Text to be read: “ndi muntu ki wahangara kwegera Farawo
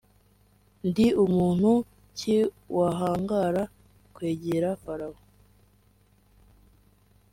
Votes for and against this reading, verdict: 4, 0, accepted